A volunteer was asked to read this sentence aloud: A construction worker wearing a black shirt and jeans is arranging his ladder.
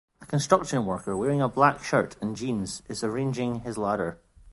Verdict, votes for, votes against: accepted, 2, 0